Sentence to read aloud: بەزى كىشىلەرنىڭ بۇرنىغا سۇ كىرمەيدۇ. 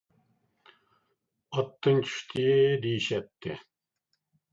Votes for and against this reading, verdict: 0, 2, rejected